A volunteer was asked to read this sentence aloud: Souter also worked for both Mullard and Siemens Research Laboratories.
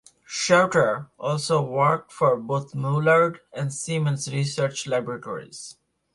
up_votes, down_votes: 0, 2